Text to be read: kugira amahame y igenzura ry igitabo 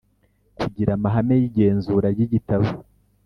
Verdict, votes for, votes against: accepted, 3, 0